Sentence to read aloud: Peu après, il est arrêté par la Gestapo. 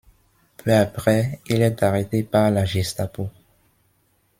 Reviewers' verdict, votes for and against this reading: rejected, 0, 2